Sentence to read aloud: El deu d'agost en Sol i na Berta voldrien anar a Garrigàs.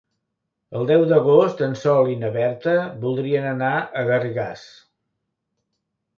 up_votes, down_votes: 2, 0